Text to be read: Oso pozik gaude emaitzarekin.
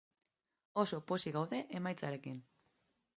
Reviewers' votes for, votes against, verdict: 3, 0, accepted